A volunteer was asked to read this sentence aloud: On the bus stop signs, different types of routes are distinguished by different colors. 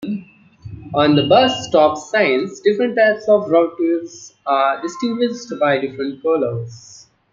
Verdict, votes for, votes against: rejected, 1, 2